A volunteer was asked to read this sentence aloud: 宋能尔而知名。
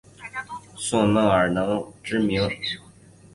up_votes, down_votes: 1, 2